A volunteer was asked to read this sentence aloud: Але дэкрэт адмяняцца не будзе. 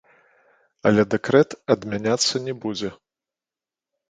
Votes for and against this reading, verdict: 1, 2, rejected